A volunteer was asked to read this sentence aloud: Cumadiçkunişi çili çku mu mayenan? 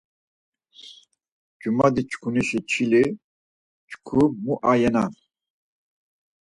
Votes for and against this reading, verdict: 0, 4, rejected